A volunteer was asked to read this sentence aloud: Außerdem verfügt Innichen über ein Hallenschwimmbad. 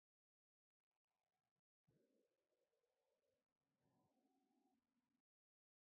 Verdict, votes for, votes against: rejected, 0, 2